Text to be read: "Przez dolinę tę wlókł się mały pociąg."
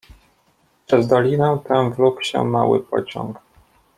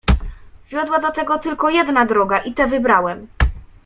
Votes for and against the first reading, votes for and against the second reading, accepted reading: 2, 0, 1, 2, first